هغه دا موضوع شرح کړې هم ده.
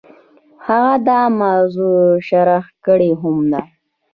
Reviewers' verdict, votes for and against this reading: rejected, 1, 2